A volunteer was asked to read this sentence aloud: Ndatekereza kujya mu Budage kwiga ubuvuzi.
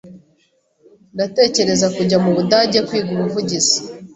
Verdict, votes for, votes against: rejected, 0, 2